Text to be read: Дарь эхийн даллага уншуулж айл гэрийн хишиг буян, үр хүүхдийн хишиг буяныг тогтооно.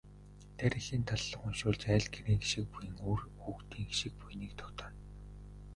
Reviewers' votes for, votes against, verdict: 0, 2, rejected